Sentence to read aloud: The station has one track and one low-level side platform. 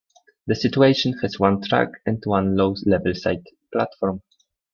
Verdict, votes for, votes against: rejected, 1, 2